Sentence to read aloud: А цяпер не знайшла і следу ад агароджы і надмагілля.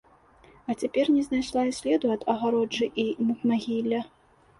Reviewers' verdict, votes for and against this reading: accepted, 2, 0